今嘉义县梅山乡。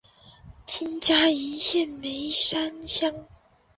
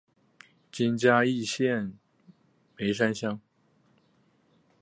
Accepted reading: second